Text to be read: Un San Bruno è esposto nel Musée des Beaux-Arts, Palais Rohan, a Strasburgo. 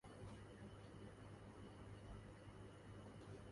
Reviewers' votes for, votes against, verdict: 0, 2, rejected